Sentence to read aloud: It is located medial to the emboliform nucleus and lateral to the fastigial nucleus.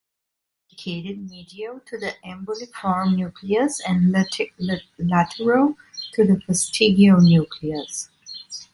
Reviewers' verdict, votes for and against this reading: rejected, 0, 3